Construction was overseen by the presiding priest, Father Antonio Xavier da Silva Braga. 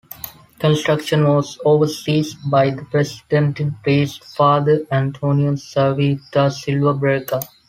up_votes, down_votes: 0, 2